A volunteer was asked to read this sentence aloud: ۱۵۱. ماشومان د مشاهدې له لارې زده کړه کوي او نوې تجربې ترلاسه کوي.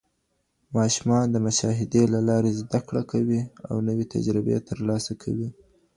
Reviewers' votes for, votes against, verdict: 0, 2, rejected